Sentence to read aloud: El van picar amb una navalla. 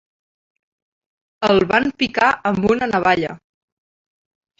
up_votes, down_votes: 2, 0